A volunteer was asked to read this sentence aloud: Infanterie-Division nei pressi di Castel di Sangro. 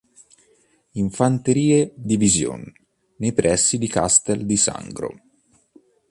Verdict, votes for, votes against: accepted, 2, 0